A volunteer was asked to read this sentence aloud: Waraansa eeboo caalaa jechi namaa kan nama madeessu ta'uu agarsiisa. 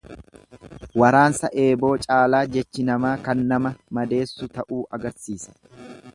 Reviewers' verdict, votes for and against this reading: accepted, 2, 0